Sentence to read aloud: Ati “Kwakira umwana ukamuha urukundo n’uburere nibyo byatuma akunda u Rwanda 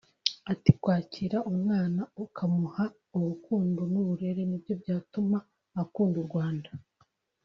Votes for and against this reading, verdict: 3, 0, accepted